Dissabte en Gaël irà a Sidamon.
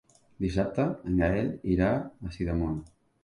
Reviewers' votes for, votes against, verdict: 2, 0, accepted